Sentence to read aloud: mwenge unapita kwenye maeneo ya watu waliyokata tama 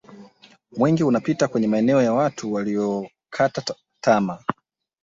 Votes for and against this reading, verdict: 1, 2, rejected